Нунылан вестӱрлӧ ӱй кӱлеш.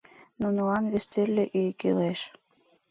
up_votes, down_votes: 2, 0